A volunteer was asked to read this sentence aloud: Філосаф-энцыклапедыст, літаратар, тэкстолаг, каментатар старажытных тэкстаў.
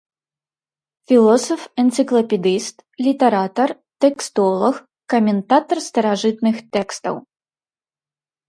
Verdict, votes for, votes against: accepted, 2, 0